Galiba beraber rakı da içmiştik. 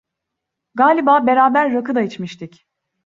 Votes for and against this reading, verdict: 2, 0, accepted